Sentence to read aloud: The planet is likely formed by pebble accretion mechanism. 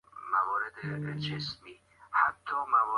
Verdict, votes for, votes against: rejected, 0, 2